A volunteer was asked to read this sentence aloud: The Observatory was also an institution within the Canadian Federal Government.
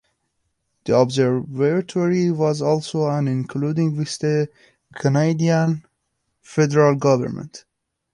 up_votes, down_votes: 0, 2